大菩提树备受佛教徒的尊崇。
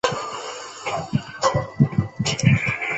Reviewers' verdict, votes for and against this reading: rejected, 0, 2